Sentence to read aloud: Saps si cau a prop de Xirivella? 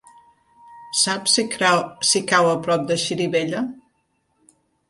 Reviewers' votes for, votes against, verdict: 0, 2, rejected